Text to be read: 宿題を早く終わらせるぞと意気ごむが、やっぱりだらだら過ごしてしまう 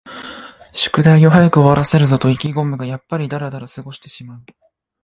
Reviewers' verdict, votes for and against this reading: accepted, 2, 0